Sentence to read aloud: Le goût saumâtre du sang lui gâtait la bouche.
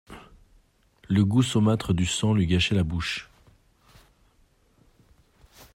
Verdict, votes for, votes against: rejected, 1, 2